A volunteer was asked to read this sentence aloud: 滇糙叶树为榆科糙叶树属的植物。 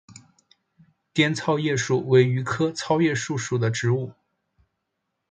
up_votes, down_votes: 3, 0